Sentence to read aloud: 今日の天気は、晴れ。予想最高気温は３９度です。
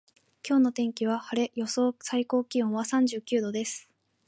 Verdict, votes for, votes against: rejected, 0, 2